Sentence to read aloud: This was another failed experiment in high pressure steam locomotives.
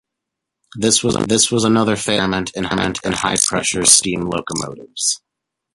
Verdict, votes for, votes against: rejected, 0, 2